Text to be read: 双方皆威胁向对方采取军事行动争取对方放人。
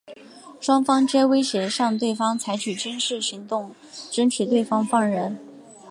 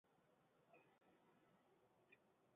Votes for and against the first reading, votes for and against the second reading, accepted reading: 2, 0, 1, 5, first